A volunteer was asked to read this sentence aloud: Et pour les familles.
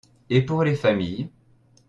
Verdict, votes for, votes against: accepted, 2, 0